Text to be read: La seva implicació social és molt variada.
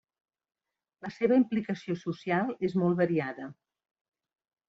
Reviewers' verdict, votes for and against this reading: accepted, 2, 0